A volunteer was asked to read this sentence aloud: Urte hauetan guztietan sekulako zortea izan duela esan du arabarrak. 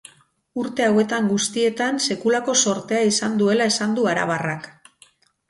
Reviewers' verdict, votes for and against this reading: rejected, 2, 4